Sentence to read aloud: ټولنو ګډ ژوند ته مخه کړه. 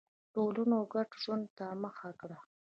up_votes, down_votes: 1, 2